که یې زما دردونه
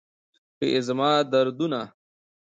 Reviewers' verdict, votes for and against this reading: accepted, 2, 0